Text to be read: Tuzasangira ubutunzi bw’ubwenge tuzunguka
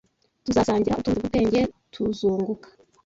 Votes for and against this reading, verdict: 1, 2, rejected